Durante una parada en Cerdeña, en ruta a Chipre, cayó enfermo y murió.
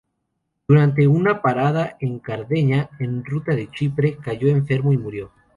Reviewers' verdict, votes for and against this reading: rejected, 0, 2